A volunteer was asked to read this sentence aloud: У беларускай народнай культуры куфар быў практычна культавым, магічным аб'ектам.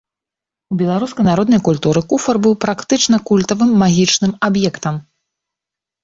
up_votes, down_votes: 2, 0